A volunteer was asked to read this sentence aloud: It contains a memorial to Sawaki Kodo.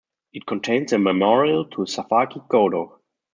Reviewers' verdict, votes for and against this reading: accepted, 2, 0